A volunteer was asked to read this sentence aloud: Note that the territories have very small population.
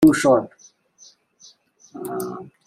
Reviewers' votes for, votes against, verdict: 0, 2, rejected